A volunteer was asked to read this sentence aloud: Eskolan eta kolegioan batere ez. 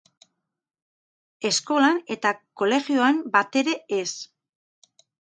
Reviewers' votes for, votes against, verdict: 2, 2, rejected